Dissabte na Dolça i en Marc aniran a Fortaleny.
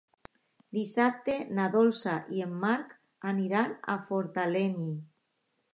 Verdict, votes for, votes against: accepted, 2, 0